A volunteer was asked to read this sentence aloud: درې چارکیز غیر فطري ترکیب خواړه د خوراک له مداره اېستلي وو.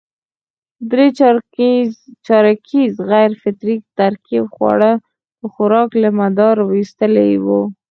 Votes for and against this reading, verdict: 2, 4, rejected